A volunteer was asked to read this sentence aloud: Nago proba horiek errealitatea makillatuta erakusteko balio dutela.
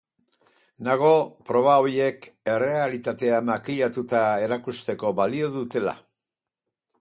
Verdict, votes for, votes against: rejected, 2, 4